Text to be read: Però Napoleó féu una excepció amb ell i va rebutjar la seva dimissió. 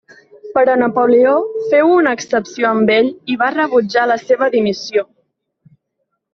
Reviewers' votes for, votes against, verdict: 2, 0, accepted